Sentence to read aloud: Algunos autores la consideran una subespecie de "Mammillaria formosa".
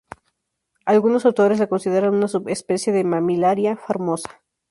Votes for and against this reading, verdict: 0, 2, rejected